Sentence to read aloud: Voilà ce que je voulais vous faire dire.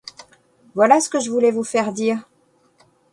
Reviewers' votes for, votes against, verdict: 2, 0, accepted